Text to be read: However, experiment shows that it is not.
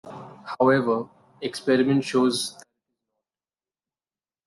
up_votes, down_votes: 0, 2